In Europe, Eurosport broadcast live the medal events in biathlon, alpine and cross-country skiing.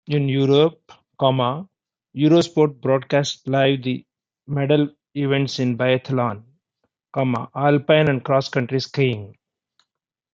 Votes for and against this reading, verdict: 1, 2, rejected